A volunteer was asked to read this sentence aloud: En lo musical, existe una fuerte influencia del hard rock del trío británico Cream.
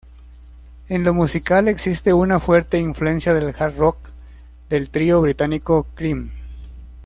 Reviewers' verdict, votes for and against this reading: accepted, 2, 0